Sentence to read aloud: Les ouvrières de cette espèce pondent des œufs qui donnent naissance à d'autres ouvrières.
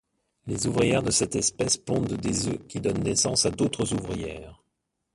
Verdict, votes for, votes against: accepted, 2, 1